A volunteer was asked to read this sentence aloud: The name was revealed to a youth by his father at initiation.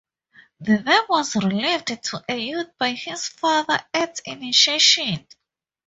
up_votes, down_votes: 0, 2